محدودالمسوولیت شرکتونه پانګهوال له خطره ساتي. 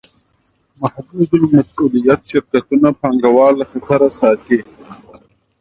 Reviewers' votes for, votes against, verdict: 2, 1, accepted